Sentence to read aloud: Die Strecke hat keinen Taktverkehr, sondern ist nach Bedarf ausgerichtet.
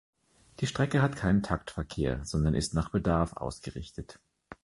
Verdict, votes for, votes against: accepted, 2, 0